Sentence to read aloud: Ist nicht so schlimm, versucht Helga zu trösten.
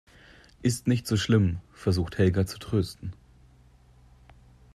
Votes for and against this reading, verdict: 2, 0, accepted